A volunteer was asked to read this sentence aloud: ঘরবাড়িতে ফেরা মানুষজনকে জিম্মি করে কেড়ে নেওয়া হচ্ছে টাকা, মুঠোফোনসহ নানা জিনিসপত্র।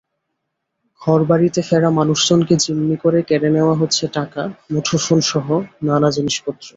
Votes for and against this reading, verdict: 2, 0, accepted